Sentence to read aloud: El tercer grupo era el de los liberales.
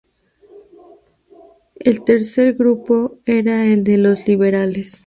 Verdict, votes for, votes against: accepted, 2, 0